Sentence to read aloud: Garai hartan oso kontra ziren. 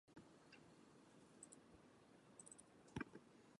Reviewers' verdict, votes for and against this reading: rejected, 0, 4